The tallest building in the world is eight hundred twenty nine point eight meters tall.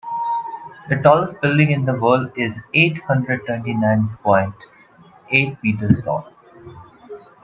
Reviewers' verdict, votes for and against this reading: accepted, 2, 0